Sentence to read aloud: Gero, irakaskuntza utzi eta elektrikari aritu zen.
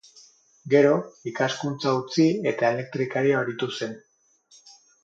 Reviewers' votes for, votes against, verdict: 6, 0, accepted